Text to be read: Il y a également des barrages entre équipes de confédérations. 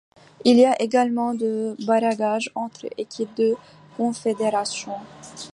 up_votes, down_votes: 1, 2